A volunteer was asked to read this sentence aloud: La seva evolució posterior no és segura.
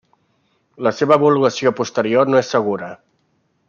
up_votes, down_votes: 1, 2